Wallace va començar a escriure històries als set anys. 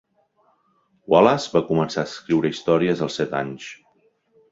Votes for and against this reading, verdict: 2, 0, accepted